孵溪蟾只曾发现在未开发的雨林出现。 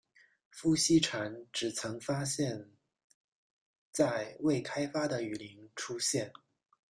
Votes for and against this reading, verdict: 1, 2, rejected